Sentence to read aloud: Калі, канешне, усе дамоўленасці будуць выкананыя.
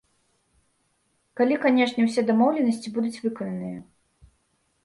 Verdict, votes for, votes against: accepted, 2, 0